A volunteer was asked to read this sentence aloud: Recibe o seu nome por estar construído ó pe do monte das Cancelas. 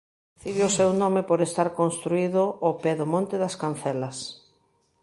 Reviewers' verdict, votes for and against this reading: rejected, 0, 2